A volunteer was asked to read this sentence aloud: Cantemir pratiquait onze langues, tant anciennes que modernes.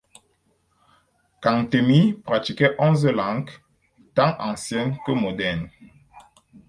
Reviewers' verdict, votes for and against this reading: accepted, 4, 0